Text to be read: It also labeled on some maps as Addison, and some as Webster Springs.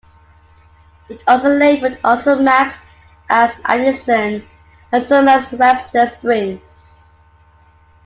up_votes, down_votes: 2, 1